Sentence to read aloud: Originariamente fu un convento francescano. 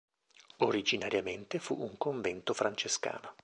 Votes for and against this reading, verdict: 2, 0, accepted